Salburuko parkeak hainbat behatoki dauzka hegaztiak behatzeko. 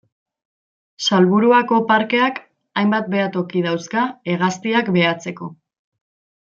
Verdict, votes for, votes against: rejected, 0, 2